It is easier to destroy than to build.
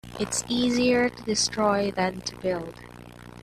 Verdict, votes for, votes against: rejected, 1, 2